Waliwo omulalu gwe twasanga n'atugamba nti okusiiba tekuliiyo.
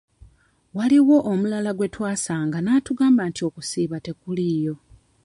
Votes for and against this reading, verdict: 1, 2, rejected